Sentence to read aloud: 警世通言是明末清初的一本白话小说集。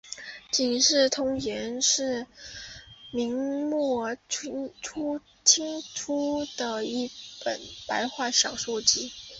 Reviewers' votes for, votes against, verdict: 2, 1, accepted